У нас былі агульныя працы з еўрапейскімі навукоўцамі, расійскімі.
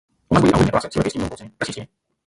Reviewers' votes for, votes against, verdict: 0, 3, rejected